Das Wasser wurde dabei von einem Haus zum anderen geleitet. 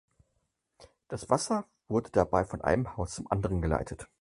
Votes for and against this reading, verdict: 4, 0, accepted